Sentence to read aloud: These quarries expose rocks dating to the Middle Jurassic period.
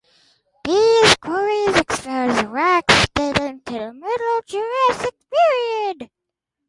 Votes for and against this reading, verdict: 0, 4, rejected